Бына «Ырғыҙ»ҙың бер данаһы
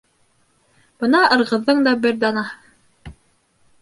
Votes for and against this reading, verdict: 2, 1, accepted